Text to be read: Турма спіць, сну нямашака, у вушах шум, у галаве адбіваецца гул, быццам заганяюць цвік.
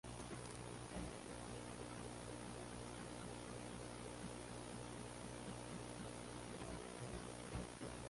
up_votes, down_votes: 0, 2